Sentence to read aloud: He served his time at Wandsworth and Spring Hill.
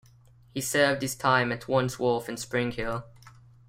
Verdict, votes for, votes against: accepted, 2, 0